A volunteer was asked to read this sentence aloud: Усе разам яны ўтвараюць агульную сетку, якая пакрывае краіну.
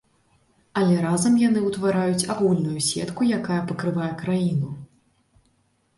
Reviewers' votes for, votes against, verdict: 1, 2, rejected